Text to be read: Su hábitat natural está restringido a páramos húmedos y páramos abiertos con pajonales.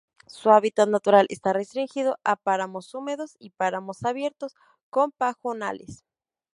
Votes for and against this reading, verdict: 2, 0, accepted